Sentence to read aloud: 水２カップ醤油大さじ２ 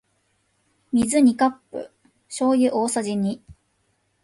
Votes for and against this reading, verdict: 0, 2, rejected